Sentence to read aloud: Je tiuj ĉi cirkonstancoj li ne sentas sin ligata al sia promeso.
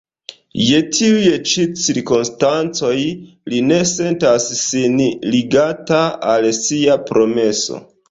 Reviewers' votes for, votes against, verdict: 2, 1, accepted